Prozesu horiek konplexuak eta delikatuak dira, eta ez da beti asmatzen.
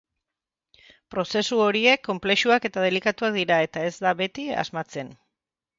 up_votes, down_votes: 4, 0